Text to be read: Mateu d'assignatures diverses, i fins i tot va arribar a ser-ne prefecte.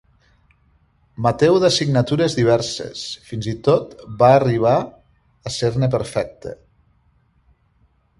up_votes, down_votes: 1, 2